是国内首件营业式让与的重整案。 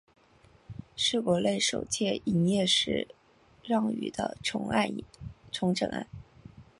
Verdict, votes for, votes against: rejected, 0, 2